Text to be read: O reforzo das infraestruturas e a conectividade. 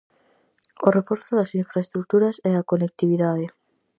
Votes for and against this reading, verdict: 4, 0, accepted